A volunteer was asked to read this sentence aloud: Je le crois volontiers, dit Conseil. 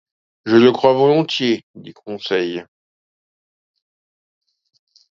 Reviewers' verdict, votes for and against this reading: accepted, 2, 0